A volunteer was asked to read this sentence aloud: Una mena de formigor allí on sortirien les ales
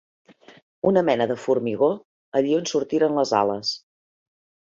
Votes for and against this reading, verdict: 1, 3, rejected